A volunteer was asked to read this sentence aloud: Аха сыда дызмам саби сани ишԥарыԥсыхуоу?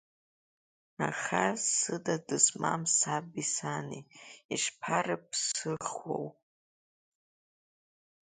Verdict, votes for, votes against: accepted, 2, 0